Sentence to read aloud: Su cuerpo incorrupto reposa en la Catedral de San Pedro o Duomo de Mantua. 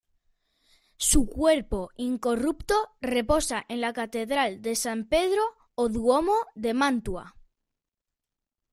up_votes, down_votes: 2, 0